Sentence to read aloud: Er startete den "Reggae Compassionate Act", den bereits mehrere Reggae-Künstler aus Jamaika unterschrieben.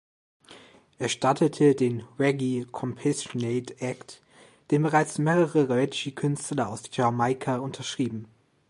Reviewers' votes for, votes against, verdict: 1, 3, rejected